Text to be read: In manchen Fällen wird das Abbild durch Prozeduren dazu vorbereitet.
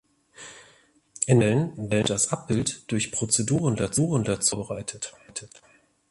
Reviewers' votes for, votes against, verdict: 0, 2, rejected